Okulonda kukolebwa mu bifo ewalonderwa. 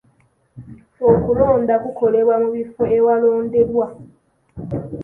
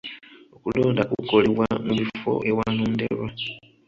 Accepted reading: first